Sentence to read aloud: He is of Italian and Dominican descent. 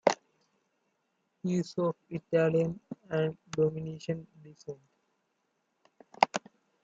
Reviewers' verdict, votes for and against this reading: rejected, 0, 2